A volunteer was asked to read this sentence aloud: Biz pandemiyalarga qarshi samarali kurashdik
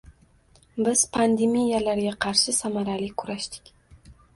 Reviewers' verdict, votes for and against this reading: accepted, 2, 1